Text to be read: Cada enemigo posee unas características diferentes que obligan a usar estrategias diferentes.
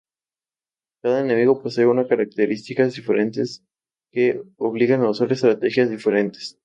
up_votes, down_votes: 0, 2